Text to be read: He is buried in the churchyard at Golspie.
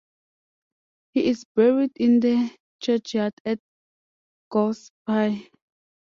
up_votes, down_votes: 0, 2